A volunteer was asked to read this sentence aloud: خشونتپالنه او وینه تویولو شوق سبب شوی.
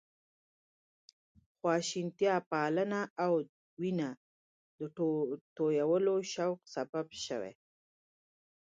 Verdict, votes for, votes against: rejected, 1, 2